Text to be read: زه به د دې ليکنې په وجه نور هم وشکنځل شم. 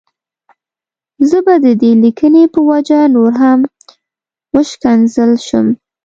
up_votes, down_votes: 2, 0